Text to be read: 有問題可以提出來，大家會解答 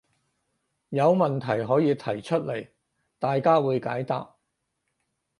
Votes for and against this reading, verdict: 4, 0, accepted